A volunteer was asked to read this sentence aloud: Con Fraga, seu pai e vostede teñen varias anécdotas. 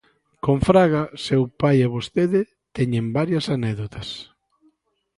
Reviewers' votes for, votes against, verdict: 2, 0, accepted